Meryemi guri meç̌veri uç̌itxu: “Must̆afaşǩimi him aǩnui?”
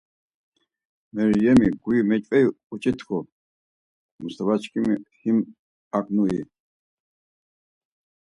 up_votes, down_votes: 2, 4